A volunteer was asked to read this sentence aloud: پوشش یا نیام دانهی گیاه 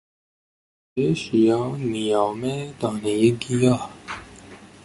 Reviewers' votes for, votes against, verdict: 1, 2, rejected